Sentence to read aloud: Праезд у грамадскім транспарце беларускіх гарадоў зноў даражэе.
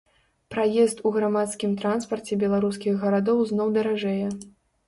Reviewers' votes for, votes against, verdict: 2, 0, accepted